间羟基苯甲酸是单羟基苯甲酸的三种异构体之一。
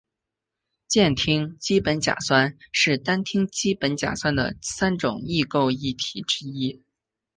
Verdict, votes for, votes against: accepted, 3, 0